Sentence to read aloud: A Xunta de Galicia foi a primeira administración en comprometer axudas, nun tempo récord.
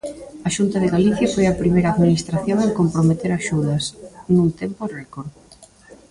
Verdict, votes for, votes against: accepted, 2, 1